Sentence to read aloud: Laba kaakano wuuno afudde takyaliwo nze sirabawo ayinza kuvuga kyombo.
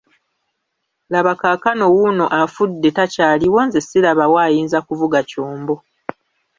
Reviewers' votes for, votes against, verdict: 2, 0, accepted